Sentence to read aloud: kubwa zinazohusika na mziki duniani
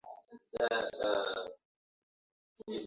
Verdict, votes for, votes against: rejected, 0, 2